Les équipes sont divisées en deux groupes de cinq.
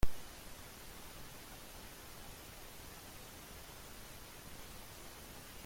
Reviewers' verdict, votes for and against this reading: rejected, 0, 2